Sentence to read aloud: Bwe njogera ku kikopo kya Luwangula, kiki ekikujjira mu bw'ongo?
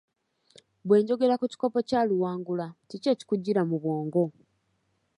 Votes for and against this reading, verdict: 2, 1, accepted